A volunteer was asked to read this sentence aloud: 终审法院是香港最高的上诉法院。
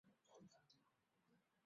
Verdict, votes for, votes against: accepted, 3, 1